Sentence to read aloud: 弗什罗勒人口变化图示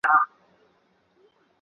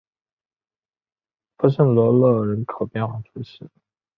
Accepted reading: second